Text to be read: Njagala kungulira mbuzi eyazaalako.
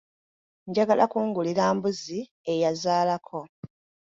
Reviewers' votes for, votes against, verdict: 2, 0, accepted